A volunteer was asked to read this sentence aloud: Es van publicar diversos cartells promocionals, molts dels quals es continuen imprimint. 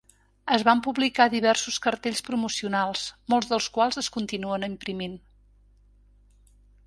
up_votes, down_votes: 3, 1